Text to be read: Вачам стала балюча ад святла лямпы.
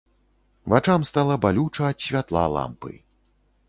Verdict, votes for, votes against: rejected, 1, 2